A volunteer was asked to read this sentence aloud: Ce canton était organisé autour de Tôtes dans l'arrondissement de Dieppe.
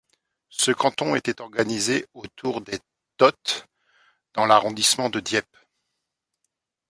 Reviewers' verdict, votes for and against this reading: rejected, 1, 2